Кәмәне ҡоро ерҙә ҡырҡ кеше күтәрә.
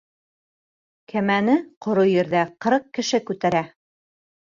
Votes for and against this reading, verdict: 3, 0, accepted